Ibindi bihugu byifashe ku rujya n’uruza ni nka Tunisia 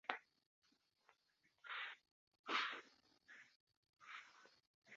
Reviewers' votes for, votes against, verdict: 0, 2, rejected